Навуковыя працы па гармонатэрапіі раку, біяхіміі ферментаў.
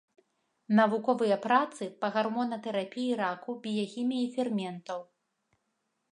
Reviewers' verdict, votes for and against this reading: accepted, 2, 0